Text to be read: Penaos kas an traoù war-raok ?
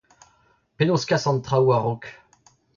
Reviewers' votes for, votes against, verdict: 0, 2, rejected